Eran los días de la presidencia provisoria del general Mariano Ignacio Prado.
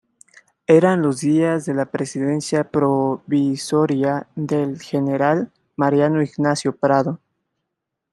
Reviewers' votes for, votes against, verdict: 2, 1, accepted